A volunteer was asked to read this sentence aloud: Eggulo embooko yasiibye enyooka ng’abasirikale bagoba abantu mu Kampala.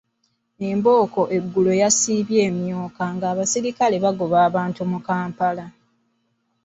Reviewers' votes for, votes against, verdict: 1, 2, rejected